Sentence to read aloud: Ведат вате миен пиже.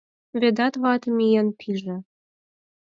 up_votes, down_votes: 4, 0